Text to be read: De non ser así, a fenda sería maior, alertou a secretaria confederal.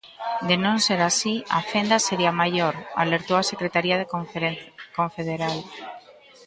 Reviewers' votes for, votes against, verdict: 0, 2, rejected